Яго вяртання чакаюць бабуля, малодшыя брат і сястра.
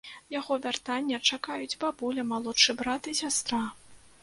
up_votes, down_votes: 1, 2